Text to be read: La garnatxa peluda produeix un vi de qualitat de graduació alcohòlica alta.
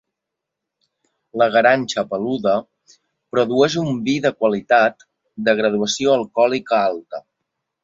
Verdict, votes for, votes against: rejected, 1, 2